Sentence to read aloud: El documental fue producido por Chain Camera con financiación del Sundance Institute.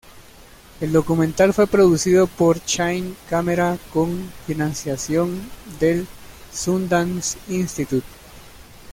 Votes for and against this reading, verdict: 2, 0, accepted